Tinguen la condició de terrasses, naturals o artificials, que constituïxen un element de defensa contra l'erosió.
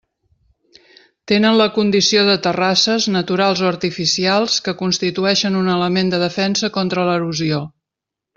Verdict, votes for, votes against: rejected, 0, 2